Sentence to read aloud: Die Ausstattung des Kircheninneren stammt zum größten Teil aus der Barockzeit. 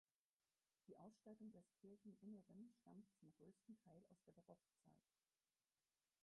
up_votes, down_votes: 0, 4